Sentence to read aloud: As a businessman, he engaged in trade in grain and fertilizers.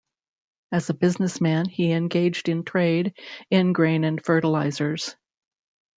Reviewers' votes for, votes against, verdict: 2, 0, accepted